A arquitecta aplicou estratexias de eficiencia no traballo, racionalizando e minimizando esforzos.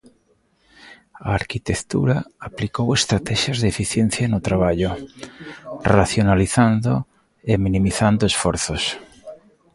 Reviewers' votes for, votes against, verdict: 0, 2, rejected